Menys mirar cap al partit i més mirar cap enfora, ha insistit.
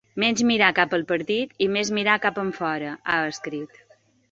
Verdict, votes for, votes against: rejected, 0, 2